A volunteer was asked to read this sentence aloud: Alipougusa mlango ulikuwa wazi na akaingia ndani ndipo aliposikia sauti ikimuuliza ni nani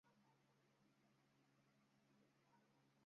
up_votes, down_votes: 0, 2